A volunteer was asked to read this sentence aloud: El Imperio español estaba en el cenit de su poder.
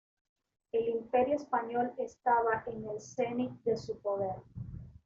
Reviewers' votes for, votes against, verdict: 2, 3, rejected